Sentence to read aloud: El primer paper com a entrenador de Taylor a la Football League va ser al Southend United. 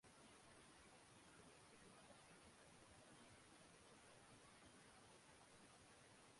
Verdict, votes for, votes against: rejected, 0, 2